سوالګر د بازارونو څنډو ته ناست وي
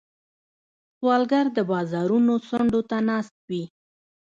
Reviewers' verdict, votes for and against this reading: rejected, 0, 2